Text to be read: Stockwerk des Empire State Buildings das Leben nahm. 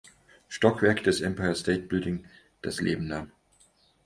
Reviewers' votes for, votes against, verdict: 0, 4, rejected